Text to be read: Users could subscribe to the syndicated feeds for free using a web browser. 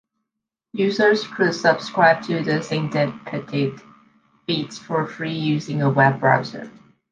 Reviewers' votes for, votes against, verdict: 1, 2, rejected